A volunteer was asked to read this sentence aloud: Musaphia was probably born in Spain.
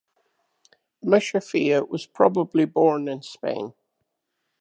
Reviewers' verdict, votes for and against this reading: accepted, 2, 0